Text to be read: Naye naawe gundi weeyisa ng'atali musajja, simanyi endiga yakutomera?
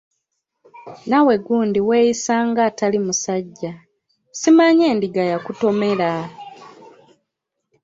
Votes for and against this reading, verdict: 1, 2, rejected